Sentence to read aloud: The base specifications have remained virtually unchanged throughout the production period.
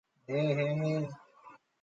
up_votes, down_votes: 0, 2